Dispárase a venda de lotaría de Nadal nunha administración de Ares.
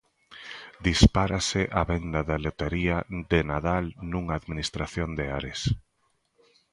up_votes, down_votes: 1, 2